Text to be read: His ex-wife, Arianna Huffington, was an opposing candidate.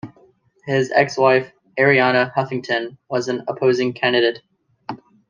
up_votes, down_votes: 2, 0